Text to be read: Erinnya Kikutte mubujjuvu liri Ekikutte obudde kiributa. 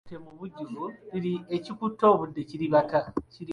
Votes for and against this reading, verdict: 1, 2, rejected